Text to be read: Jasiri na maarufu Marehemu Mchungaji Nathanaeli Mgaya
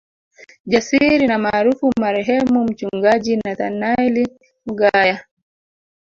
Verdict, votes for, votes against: accepted, 2, 0